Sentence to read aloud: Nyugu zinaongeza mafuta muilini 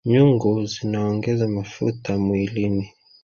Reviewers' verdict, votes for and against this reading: accepted, 3, 1